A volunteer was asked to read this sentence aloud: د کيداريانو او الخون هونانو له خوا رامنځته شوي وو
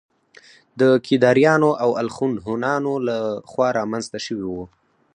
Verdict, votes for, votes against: accepted, 4, 0